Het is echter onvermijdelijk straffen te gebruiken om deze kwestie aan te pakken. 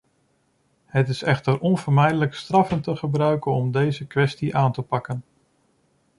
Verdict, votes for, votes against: rejected, 1, 2